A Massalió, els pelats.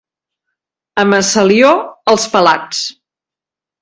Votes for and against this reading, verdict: 2, 0, accepted